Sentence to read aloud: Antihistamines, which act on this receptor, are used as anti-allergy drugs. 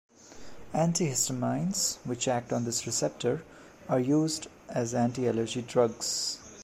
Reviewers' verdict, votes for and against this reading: rejected, 1, 2